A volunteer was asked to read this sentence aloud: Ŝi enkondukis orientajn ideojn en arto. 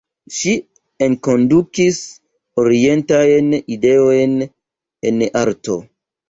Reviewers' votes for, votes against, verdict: 0, 2, rejected